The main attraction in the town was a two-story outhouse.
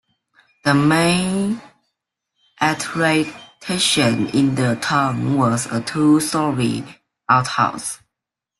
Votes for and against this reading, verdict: 1, 2, rejected